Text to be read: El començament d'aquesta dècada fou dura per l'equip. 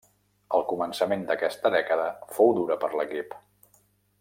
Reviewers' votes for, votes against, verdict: 3, 0, accepted